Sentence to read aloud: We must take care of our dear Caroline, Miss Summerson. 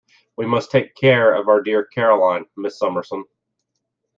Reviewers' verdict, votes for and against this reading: accepted, 2, 1